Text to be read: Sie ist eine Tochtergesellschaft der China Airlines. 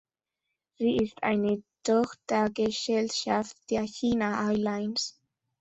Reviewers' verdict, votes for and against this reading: rejected, 0, 2